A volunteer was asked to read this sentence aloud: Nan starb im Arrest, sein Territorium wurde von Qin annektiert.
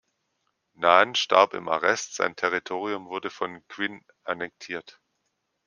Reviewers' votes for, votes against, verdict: 1, 2, rejected